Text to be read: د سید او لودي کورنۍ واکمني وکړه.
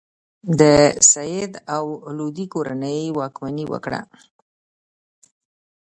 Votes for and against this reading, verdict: 2, 0, accepted